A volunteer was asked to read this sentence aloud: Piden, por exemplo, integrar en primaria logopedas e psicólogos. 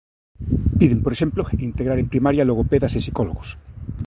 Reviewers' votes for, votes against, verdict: 2, 0, accepted